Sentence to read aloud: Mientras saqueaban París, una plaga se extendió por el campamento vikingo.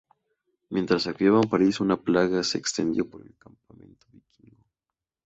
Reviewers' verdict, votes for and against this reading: accepted, 2, 0